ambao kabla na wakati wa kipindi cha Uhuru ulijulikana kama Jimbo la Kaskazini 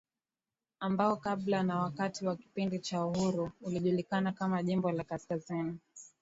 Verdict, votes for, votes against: rejected, 1, 2